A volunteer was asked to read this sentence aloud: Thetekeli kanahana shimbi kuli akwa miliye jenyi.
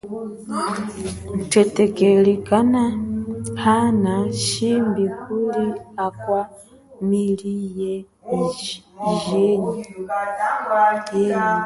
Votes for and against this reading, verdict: 0, 2, rejected